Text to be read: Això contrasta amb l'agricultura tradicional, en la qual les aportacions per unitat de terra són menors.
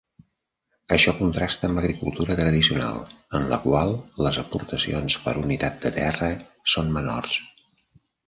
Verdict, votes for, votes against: accepted, 2, 0